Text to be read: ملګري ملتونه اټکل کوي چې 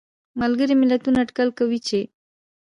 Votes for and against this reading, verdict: 2, 0, accepted